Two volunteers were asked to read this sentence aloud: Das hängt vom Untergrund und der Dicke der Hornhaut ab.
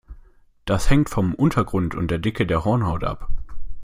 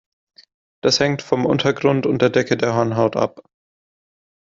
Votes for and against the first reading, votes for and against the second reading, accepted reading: 2, 0, 1, 2, first